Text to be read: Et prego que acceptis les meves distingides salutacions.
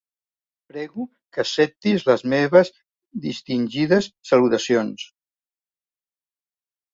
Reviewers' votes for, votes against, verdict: 0, 2, rejected